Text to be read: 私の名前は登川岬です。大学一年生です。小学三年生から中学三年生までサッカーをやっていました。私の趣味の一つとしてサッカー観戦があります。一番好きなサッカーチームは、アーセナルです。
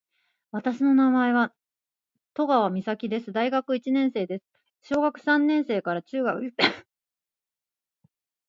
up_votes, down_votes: 0, 2